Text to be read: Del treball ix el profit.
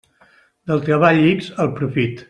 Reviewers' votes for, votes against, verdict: 2, 0, accepted